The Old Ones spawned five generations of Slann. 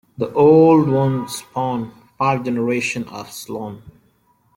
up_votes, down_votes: 2, 1